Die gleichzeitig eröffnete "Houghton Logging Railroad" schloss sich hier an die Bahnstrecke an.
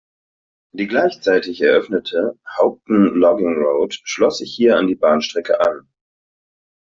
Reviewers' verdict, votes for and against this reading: accepted, 2, 1